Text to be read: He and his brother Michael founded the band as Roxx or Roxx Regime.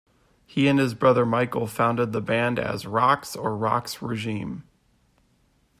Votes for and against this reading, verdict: 3, 0, accepted